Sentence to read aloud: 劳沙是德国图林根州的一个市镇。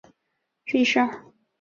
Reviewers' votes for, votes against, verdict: 1, 4, rejected